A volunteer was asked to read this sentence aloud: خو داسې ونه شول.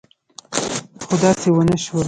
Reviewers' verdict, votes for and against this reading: accepted, 3, 2